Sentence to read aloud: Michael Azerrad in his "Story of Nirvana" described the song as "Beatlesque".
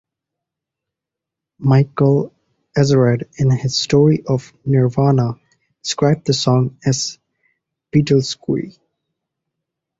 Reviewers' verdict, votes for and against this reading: rejected, 0, 2